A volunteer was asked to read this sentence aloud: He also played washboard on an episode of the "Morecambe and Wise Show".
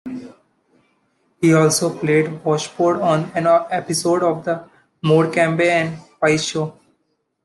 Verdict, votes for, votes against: rejected, 1, 2